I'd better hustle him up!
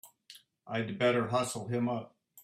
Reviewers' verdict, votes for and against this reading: accepted, 3, 0